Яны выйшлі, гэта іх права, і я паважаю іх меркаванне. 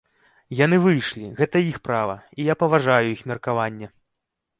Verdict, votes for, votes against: accepted, 2, 0